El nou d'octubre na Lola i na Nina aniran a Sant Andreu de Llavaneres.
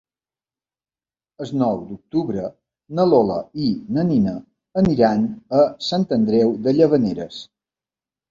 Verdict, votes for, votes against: rejected, 0, 2